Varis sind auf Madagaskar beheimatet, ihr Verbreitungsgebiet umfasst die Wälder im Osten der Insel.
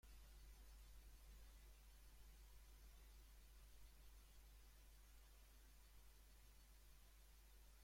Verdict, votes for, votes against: rejected, 0, 2